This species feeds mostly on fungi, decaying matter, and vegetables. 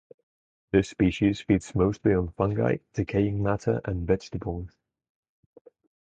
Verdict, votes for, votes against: rejected, 2, 2